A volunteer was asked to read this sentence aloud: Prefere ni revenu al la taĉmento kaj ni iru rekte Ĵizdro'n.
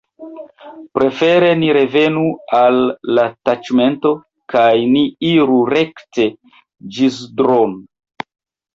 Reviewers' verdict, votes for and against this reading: rejected, 1, 2